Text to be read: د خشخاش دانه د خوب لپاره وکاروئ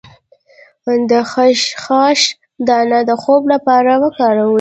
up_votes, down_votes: 0, 2